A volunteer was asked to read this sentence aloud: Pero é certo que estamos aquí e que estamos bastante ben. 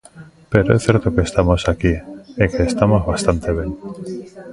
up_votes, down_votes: 1, 2